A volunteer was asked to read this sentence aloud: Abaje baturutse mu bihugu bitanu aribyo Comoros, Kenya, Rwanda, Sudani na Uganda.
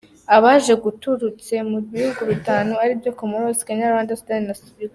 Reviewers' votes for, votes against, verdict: 0, 2, rejected